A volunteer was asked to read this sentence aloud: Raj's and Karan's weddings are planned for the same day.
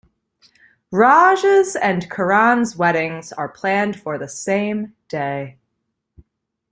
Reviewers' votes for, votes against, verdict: 2, 0, accepted